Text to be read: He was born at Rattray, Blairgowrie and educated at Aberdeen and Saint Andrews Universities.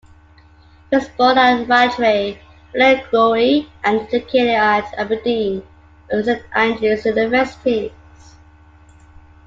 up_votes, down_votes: 0, 2